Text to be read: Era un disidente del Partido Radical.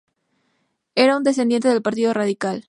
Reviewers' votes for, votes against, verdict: 0, 2, rejected